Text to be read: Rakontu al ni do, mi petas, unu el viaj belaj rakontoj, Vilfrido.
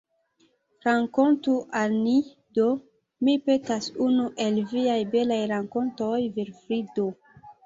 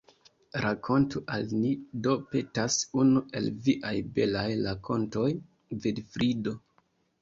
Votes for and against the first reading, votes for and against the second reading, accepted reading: 2, 0, 1, 2, first